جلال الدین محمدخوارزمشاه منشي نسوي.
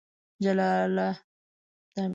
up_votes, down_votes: 1, 2